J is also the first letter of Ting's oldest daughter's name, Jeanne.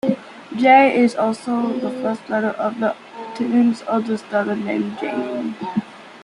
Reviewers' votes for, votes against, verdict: 1, 2, rejected